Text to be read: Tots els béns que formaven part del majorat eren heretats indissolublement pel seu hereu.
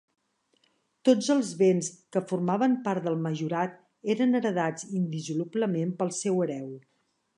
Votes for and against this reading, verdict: 1, 2, rejected